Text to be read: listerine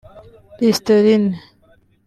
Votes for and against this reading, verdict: 2, 3, rejected